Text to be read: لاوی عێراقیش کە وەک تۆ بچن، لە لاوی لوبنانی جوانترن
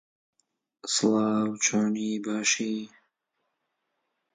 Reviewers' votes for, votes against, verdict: 0, 2, rejected